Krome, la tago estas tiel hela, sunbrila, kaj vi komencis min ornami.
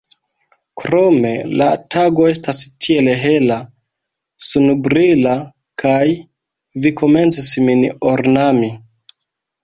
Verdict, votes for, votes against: rejected, 0, 3